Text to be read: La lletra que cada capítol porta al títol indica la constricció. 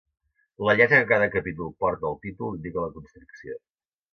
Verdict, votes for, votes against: accepted, 2, 0